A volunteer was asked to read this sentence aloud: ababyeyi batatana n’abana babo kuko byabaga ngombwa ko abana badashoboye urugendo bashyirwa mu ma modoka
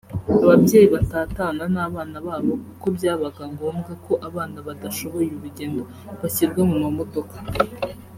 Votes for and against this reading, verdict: 2, 0, accepted